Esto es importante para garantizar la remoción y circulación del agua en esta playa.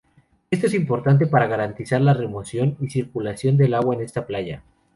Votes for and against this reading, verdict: 0, 2, rejected